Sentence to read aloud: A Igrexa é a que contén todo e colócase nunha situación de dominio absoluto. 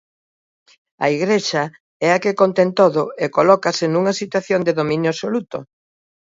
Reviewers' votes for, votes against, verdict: 2, 0, accepted